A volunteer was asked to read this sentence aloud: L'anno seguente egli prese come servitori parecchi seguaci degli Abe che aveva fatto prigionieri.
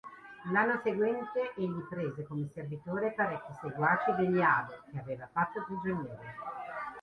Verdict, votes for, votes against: accepted, 2, 0